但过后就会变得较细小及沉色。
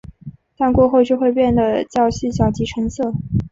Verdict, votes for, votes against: accepted, 2, 0